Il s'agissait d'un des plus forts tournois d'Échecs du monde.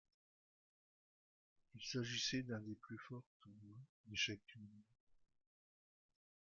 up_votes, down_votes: 0, 2